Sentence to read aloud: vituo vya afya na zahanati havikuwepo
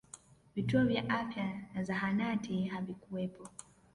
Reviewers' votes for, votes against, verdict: 0, 2, rejected